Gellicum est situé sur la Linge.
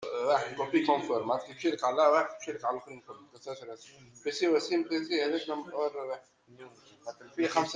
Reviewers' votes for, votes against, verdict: 0, 2, rejected